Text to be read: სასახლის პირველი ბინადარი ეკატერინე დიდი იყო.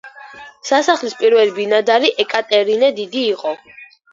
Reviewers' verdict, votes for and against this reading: accepted, 2, 0